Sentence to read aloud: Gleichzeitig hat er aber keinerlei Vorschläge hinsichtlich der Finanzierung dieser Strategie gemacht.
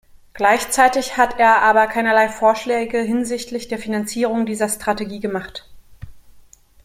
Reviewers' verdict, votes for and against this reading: accepted, 2, 1